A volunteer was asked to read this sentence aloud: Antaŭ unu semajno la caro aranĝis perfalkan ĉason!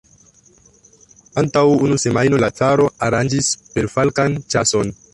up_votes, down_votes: 2, 1